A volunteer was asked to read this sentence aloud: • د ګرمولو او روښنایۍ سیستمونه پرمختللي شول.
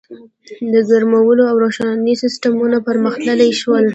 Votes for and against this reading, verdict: 2, 0, accepted